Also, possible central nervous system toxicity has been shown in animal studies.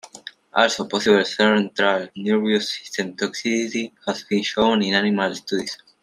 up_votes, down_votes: 2, 1